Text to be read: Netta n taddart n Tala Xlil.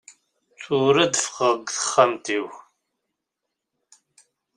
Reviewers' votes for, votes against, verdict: 0, 2, rejected